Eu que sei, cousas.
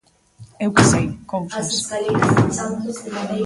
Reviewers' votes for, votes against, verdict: 0, 2, rejected